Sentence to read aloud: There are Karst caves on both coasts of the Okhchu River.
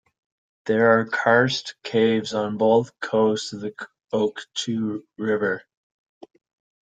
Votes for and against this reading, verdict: 2, 1, accepted